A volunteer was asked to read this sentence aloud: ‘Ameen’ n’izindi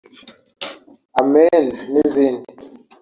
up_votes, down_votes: 1, 2